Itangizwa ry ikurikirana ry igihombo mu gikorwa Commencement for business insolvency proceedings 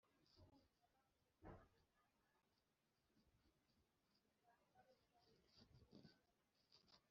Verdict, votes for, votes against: rejected, 1, 2